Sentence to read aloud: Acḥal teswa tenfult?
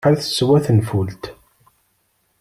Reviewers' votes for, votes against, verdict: 0, 2, rejected